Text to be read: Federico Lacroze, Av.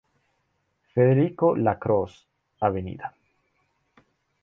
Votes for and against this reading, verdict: 2, 0, accepted